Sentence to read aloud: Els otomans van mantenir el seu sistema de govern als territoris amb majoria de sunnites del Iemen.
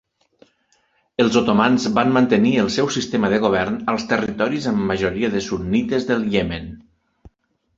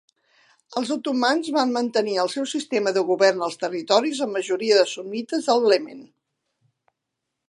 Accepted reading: first